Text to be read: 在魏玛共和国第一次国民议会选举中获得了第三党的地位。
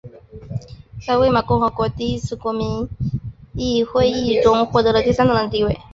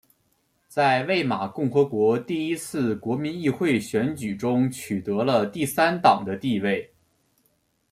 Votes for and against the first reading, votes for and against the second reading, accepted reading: 2, 2, 2, 1, second